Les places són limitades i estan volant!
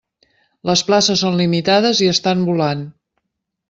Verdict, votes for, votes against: accepted, 3, 0